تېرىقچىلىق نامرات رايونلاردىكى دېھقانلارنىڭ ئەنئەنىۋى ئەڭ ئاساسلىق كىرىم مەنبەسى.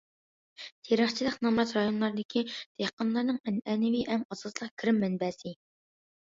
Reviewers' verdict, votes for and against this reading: accepted, 2, 0